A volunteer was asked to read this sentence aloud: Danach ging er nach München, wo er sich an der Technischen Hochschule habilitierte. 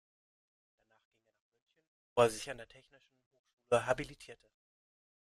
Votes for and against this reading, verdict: 0, 2, rejected